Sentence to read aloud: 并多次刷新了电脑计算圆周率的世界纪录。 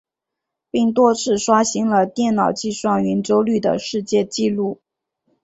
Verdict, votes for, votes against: accepted, 2, 0